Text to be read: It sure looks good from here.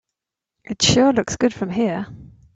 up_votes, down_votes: 3, 0